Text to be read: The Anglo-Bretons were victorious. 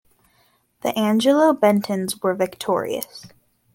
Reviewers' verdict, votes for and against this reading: rejected, 0, 2